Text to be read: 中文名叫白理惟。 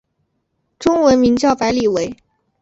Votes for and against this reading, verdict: 4, 0, accepted